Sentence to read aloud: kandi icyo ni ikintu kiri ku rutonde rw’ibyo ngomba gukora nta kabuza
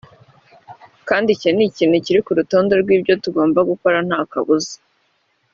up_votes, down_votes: 2, 0